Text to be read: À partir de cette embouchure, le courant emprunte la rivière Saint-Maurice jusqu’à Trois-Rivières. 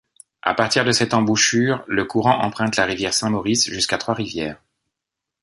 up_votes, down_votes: 2, 0